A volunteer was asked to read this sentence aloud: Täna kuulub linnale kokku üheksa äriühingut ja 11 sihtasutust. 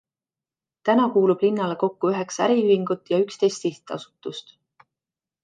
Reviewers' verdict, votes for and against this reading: rejected, 0, 2